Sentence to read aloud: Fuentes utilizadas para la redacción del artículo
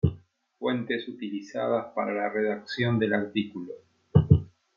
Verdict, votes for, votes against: accepted, 2, 0